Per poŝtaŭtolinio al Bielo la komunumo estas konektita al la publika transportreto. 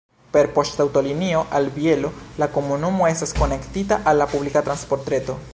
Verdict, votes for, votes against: accepted, 2, 0